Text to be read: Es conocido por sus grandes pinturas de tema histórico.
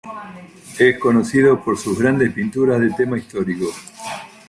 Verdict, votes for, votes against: accepted, 2, 0